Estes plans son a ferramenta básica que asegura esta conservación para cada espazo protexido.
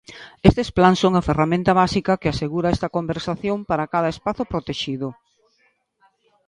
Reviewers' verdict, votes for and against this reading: rejected, 0, 2